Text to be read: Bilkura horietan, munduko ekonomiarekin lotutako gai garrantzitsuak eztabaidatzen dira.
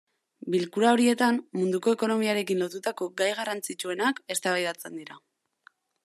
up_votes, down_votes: 0, 2